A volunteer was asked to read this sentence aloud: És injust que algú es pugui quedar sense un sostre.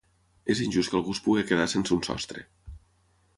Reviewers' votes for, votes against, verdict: 3, 0, accepted